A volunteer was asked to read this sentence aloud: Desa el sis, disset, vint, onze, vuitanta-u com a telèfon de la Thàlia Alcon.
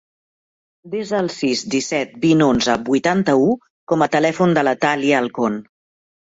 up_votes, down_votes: 2, 0